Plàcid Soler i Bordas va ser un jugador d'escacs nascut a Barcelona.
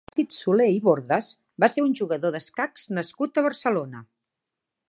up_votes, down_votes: 0, 2